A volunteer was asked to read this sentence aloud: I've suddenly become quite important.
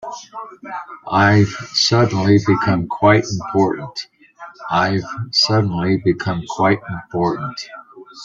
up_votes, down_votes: 1, 2